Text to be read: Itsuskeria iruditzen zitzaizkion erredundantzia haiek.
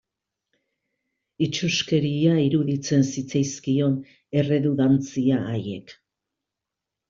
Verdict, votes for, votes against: accepted, 2, 0